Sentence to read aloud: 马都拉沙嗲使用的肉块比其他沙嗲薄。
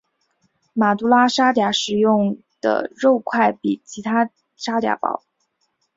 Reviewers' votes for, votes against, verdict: 2, 0, accepted